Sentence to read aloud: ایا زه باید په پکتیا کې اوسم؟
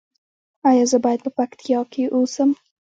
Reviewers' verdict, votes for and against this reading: rejected, 1, 2